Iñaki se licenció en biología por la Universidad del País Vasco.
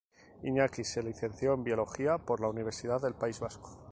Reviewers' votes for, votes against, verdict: 2, 0, accepted